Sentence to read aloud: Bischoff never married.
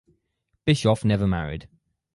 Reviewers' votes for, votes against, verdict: 4, 0, accepted